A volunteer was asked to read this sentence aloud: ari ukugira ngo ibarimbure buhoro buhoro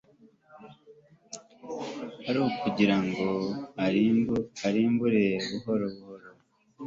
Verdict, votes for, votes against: rejected, 2, 3